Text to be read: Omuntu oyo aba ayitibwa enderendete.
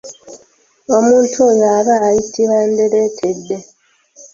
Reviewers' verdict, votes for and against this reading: rejected, 1, 2